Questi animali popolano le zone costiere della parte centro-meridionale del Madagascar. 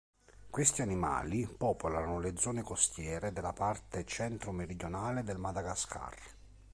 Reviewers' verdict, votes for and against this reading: accepted, 2, 0